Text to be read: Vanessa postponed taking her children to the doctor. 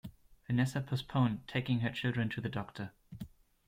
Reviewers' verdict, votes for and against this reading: accepted, 2, 0